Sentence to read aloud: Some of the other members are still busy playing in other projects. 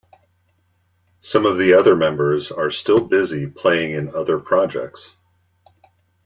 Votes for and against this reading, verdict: 2, 0, accepted